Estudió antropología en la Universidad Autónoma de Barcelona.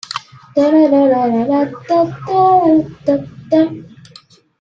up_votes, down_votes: 1, 2